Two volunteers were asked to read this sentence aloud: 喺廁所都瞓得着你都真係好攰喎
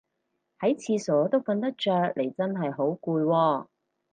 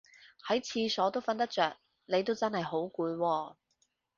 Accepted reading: second